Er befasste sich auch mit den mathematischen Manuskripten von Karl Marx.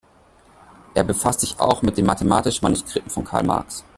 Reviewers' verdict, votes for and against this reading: rejected, 0, 2